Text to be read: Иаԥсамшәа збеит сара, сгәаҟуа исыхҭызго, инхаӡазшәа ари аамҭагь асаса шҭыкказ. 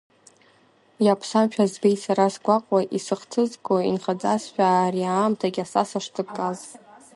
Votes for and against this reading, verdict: 0, 2, rejected